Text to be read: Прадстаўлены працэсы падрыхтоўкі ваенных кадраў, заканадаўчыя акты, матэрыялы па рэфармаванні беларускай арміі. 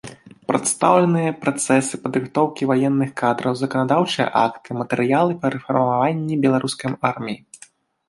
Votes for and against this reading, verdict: 1, 2, rejected